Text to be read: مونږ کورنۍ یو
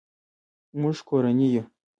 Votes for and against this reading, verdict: 2, 0, accepted